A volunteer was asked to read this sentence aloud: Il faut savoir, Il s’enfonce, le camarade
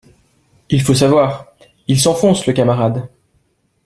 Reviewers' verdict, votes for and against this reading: accepted, 2, 0